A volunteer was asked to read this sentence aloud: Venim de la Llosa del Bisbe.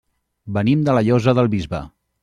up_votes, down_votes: 0, 2